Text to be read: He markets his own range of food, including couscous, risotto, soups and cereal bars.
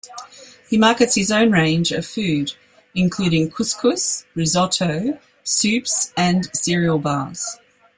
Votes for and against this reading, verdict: 2, 0, accepted